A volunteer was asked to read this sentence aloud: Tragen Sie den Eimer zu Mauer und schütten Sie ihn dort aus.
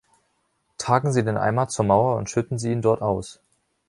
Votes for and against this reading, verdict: 1, 2, rejected